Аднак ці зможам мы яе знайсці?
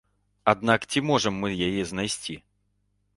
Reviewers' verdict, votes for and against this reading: rejected, 0, 2